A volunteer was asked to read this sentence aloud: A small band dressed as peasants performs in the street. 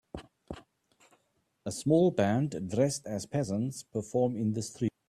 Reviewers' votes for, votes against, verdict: 1, 2, rejected